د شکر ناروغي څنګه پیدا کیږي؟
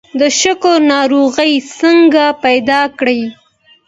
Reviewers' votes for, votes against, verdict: 0, 2, rejected